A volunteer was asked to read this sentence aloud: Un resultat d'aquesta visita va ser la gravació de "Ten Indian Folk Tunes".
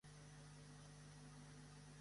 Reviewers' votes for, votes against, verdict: 0, 2, rejected